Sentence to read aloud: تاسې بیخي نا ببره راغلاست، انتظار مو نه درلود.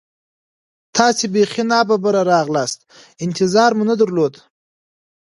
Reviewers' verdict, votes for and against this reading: accepted, 2, 1